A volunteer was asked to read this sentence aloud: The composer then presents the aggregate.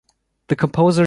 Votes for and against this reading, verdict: 1, 2, rejected